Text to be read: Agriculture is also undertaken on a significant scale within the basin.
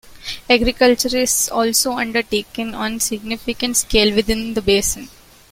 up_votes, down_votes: 2, 0